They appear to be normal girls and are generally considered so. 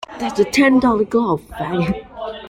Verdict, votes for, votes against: rejected, 0, 2